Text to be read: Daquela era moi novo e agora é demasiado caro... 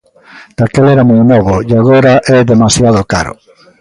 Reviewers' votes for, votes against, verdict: 2, 0, accepted